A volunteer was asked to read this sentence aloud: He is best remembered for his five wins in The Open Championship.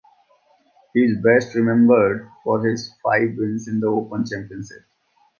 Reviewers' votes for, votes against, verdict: 2, 0, accepted